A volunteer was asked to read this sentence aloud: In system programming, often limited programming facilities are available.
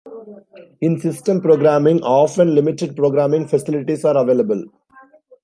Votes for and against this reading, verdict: 2, 0, accepted